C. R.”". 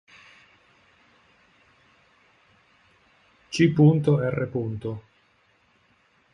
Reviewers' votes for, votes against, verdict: 1, 2, rejected